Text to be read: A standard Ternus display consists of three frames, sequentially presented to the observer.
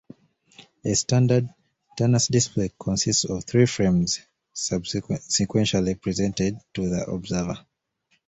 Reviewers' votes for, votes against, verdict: 0, 2, rejected